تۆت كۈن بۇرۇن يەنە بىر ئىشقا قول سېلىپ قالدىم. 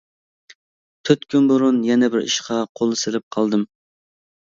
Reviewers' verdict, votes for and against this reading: accepted, 2, 0